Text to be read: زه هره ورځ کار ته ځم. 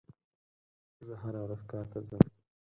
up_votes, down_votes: 0, 4